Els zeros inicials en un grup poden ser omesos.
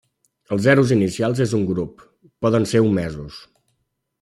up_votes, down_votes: 0, 2